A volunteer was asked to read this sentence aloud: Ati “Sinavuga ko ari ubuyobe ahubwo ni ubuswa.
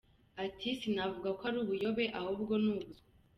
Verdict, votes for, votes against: accepted, 2, 1